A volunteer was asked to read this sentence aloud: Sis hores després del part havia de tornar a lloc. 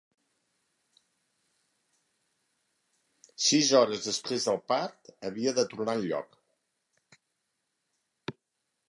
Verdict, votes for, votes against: rejected, 0, 2